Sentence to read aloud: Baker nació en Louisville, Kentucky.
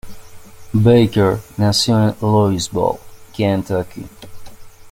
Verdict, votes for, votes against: rejected, 1, 2